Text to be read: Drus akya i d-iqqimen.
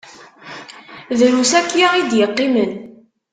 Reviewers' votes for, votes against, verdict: 2, 1, accepted